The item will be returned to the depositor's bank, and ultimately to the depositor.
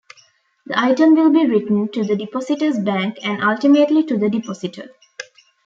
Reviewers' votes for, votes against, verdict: 0, 2, rejected